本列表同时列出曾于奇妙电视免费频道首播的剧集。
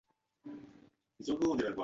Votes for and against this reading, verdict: 1, 2, rejected